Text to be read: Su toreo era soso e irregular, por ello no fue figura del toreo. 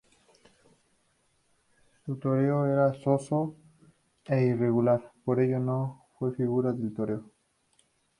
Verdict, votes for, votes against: rejected, 4, 4